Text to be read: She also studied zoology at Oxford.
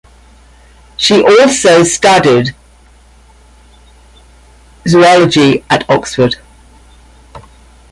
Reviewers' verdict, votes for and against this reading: accepted, 2, 1